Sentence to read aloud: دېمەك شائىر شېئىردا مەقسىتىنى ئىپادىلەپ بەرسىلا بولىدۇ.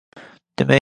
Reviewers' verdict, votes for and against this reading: rejected, 0, 2